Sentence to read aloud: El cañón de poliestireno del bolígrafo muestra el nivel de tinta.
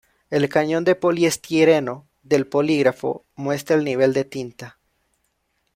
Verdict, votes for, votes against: rejected, 0, 2